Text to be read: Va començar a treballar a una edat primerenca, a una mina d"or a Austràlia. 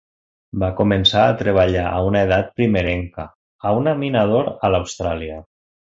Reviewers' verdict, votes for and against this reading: rejected, 0, 2